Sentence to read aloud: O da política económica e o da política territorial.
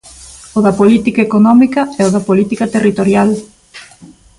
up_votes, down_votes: 2, 0